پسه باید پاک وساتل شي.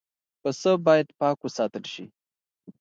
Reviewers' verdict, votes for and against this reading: accepted, 2, 0